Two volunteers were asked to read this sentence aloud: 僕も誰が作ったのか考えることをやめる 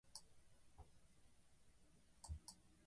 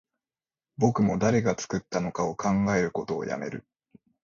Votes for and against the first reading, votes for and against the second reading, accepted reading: 0, 2, 2, 0, second